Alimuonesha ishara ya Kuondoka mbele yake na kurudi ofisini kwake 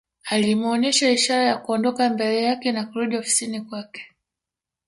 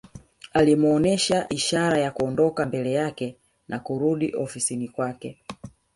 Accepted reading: second